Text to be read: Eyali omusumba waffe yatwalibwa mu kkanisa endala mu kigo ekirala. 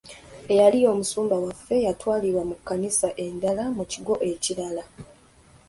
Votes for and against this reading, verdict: 2, 0, accepted